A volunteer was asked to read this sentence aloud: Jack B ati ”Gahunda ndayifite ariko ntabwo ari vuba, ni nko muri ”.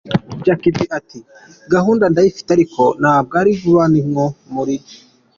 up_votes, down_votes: 2, 0